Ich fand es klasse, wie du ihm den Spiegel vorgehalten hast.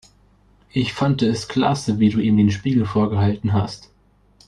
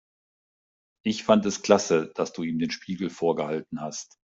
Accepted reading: first